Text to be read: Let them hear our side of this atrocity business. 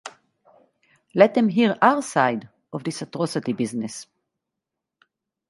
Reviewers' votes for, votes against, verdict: 2, 2, rejected